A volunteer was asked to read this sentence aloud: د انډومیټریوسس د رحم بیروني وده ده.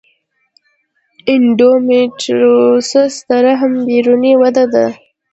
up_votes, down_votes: 2, 0